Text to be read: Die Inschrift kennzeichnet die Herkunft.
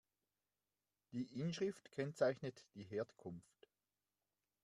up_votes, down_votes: 2, 1